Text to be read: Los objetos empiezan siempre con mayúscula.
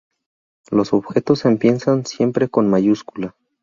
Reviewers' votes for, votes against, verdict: 0, 2, rejected